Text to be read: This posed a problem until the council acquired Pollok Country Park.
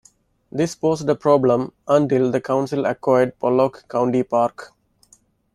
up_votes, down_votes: 0, 2